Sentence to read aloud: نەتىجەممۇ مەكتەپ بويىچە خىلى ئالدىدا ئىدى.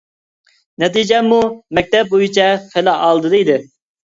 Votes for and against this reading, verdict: 2, 0, accepted